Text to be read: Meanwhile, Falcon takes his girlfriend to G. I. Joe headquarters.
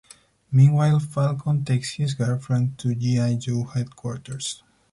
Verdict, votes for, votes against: accepted, 4, 2